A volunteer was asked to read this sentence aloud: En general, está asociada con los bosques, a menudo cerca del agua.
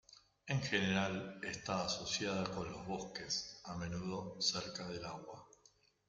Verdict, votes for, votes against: accepted, 2, 1